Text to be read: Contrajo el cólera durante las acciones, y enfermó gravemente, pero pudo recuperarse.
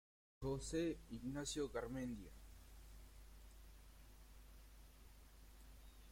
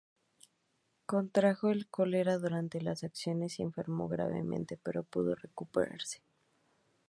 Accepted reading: second